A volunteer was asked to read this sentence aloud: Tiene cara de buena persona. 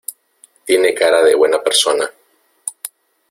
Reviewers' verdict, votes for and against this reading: accepted, 2, 0